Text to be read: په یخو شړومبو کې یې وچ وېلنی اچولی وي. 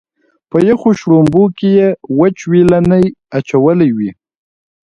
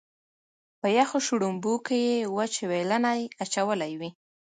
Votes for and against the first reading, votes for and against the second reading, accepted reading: 1, 2, 2, 0, second